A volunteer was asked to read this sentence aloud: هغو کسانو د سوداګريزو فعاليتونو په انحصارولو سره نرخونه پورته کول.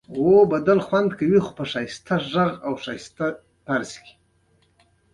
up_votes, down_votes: 2, 1